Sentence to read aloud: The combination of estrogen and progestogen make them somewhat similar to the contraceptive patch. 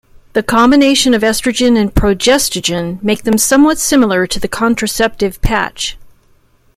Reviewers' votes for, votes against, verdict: 1, 2, rejected